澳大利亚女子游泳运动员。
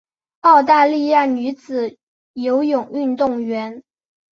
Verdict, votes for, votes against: accepted, 6, 0